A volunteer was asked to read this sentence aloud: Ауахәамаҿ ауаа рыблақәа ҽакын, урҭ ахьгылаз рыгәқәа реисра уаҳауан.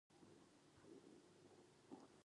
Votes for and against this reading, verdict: 1, 2, rejected